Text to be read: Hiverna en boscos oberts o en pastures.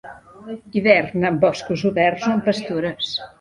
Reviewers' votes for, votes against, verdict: 1, 2, rejected